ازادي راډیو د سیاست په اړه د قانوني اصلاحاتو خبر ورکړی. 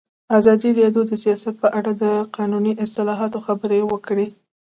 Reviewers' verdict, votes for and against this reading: accepted, 2, 0